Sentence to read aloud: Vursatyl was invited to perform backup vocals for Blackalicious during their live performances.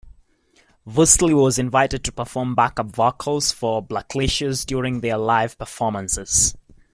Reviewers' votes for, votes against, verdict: 2, 0, accepted